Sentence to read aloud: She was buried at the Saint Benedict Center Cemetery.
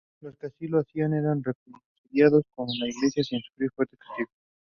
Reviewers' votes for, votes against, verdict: 0, 2, rejected